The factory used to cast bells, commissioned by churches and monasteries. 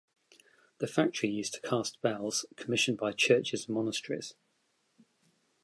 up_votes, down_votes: 0, 2